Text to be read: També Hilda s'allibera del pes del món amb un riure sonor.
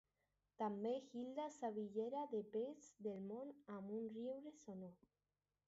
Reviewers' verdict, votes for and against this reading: rejected, 0, 2